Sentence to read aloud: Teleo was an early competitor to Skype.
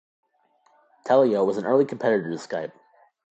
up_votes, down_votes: 3, 0